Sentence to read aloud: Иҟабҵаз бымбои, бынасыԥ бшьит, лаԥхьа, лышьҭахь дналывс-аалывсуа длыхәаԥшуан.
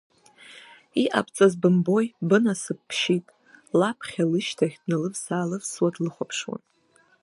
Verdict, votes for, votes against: rejected, 1, 2